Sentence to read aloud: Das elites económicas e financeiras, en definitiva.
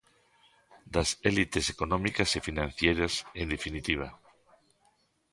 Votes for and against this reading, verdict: 0, 3, rejected